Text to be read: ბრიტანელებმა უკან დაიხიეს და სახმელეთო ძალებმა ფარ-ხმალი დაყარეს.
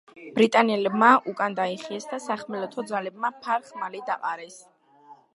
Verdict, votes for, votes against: accepted, 2, 0